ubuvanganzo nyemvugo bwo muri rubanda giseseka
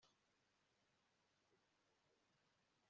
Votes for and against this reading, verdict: 1, 2, rejected